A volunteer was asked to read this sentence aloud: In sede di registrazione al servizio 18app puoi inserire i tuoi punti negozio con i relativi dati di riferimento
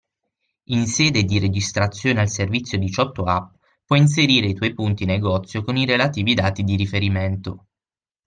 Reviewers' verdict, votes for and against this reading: rejected, 0, 2